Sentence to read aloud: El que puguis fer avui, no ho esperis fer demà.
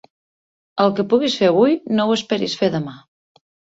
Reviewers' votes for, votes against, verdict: 3, 0, accepted